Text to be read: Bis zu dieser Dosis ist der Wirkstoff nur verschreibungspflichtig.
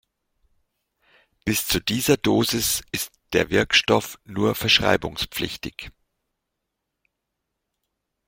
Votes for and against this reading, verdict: 2, 0, accepted